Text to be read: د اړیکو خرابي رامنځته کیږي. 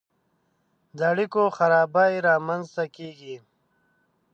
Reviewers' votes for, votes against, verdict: 1, 2, rejected